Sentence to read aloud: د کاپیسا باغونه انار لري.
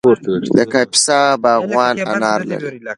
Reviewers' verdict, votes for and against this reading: accepted, 2, 0